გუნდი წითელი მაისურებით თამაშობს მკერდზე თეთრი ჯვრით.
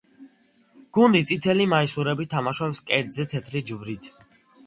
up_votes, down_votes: 2, 0